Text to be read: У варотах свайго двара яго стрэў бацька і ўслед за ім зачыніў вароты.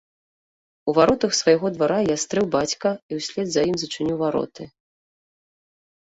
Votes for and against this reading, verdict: 0, 2, rejected